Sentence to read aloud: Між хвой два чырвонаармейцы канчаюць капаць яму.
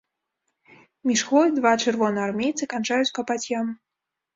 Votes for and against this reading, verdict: 2, 0, accepted